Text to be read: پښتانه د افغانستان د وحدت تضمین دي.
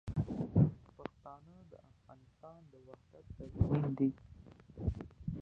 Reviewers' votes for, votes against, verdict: 0, 2, rejected